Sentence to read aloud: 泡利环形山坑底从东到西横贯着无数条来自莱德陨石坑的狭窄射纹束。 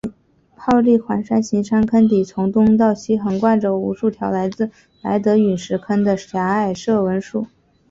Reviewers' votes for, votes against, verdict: 4, 1, accepted